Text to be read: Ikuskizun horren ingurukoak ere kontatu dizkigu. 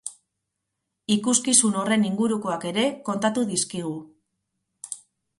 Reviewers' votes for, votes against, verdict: 2, 0, accepted